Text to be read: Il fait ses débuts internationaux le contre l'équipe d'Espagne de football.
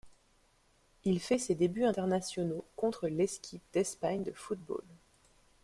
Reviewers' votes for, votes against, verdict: 1, 2, rejected